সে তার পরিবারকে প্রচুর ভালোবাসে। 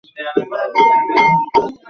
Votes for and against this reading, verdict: 0, 2, rejected